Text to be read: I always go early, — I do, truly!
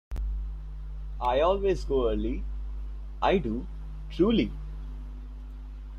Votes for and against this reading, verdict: 2, 0, accepted